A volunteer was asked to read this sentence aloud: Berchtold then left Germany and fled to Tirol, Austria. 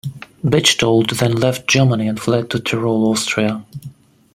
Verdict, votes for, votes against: rejected, 1, 2